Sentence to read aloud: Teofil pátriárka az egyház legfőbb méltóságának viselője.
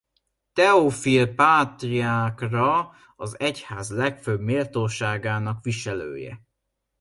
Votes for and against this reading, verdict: 0, 2, rejected